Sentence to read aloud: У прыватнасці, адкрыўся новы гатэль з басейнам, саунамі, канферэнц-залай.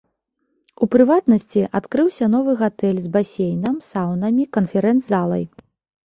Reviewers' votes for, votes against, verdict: 2, 0, accepted